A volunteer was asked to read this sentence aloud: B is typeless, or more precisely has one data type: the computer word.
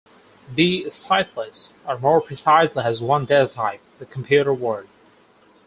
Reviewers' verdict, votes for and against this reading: accepted, 4, 2